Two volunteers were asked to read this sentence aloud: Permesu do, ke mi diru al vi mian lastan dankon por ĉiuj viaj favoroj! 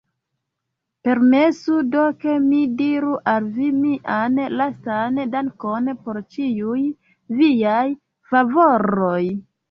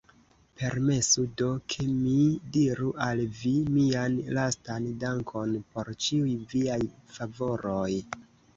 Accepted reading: first